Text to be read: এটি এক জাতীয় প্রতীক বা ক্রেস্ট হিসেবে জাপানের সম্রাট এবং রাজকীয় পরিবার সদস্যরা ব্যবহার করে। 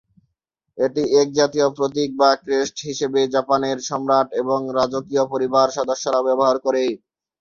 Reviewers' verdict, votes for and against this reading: accepted, 3, 0